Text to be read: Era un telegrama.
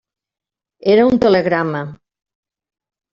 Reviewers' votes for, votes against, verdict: 3, 0, accepted